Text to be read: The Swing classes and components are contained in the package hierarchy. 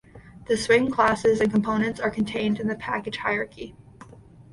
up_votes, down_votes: 2, 0